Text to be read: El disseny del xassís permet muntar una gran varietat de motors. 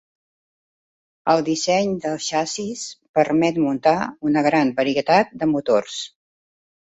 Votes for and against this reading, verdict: 0, 2, rejected